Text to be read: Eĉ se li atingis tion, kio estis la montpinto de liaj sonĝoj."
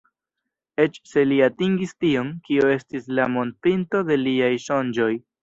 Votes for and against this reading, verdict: 0, 2, rejected